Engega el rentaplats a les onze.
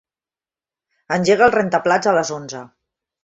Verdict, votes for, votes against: accepted, 2, 0